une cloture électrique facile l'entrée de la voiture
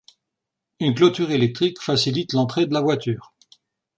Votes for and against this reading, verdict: 0, 2, rejected